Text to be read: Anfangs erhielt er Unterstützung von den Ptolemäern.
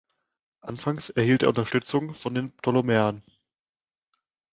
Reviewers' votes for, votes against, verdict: 2, 0, accepted